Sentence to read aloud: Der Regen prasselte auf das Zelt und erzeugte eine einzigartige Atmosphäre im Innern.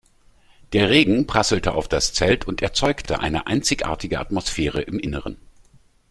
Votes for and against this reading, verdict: 2, 3, rejected